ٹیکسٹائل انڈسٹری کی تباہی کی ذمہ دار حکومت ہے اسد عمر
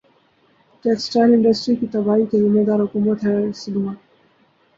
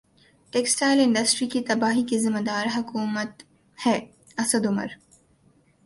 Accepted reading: second